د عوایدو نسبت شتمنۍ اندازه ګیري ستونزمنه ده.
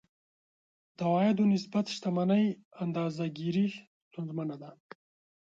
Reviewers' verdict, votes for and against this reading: accepted, 2, 0